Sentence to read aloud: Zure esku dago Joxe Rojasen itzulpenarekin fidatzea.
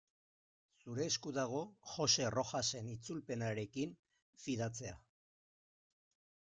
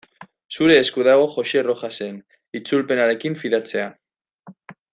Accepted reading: second